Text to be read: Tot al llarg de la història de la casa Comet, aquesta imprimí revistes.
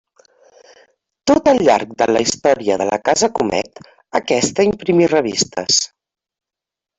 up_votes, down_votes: 1, 2